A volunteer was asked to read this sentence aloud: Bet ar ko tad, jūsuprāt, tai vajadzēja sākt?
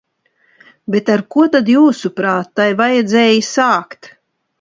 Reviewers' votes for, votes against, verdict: 2, 0, accepted